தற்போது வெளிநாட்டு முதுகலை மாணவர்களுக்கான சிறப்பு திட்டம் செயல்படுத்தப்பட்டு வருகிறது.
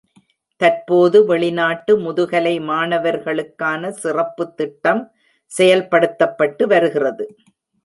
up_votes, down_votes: 1, 2